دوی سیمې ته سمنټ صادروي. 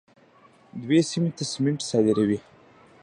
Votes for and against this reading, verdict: 1, 2, rejected